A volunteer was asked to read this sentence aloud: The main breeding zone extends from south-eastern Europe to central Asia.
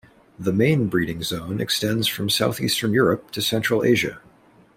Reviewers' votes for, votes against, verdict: 2, 0, accepted